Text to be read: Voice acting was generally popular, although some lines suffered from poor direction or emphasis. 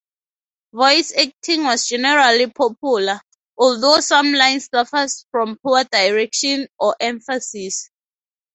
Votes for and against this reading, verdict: 0, 2, rejected